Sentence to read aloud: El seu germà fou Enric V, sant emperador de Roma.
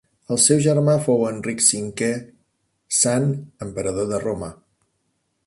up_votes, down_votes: 3, 0